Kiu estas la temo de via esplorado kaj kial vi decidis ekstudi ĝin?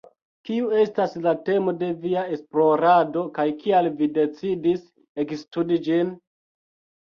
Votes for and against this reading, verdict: 3, 0, accepted